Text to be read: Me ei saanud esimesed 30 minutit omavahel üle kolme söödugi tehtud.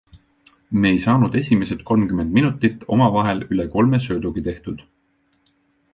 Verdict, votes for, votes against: rejected, 0, 2